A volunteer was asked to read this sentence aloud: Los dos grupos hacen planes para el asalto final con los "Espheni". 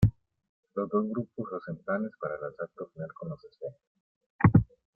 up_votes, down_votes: 1, 2